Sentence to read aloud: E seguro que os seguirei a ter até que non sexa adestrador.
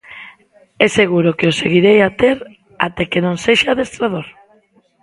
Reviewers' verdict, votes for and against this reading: rejected, 1, 2